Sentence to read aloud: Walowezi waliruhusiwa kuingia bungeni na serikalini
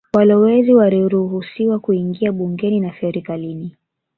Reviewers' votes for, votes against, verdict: 1, 3, rejected